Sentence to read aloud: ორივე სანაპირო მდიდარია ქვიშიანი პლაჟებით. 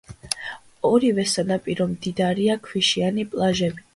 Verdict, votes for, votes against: accepted, 2, 1